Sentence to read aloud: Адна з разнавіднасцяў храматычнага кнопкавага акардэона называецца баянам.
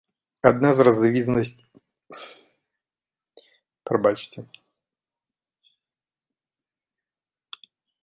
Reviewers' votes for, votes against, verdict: 0, 2, rejected